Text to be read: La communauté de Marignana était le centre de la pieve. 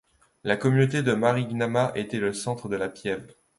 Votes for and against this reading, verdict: 2, 1, accepted